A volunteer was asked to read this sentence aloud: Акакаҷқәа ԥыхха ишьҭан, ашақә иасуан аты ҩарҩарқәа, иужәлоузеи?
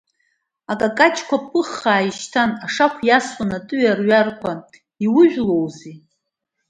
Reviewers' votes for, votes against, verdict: 2, 0, accepted